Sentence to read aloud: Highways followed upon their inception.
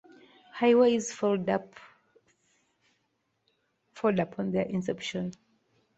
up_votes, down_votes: 0, 2